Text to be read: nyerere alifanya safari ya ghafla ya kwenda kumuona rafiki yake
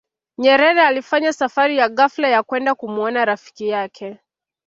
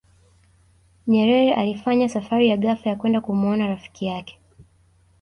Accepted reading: first